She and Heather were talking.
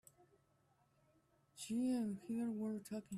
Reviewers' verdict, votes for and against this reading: rejected, 1, 3